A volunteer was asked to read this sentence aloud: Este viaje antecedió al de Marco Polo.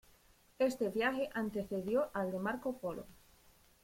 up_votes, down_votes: 2, 0